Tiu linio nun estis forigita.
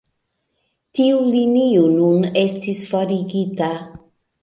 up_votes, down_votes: 0, 2